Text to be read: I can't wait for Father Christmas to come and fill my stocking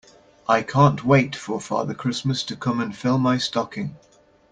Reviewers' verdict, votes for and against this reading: accepted, 2, 0